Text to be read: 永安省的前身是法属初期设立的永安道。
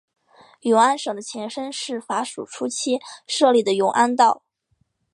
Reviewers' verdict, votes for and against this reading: accepted, 2, 0